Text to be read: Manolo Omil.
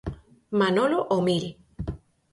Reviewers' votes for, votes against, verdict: 4, 0, accepted